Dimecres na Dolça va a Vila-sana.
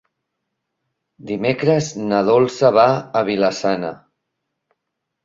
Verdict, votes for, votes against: accepted, 2, 0